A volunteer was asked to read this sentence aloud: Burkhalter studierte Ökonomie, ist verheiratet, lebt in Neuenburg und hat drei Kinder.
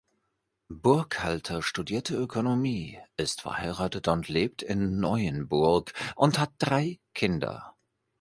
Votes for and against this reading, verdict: 0, 3, rejected